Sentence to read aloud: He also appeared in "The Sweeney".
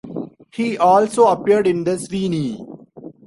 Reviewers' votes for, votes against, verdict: 2, 0, accepted